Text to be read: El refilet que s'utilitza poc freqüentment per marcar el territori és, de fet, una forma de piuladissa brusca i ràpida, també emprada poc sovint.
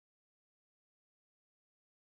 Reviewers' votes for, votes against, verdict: 0, 2, rejected